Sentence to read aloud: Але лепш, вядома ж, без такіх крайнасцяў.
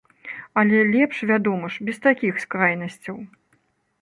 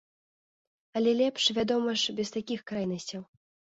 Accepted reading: second